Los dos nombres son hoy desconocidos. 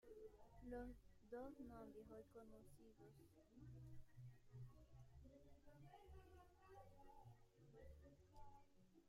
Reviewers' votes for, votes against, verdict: 1, 2, rejected